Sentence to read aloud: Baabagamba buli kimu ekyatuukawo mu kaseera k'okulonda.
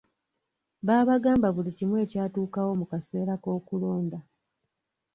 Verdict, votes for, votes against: accepted, 2, 0